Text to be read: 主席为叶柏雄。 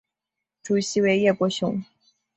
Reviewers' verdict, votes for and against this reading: accepted, 2, 0